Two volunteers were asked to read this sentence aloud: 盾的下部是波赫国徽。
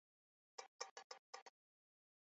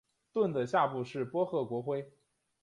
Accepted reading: second